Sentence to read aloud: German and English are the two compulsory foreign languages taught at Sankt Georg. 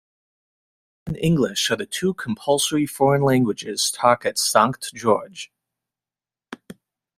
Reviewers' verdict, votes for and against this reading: rejected, 1, 2